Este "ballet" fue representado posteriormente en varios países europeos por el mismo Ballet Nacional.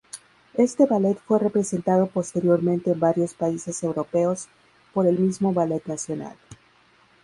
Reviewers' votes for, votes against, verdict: 0, 2, rejected